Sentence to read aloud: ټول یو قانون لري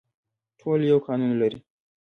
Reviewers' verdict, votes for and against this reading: accepted, 2, 0